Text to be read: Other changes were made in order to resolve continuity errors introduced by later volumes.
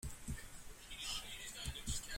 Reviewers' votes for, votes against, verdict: 0, 2, rejected